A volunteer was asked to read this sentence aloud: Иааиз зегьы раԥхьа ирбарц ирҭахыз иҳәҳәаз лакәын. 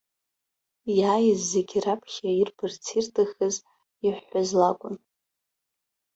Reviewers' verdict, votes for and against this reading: rejected, 0, 2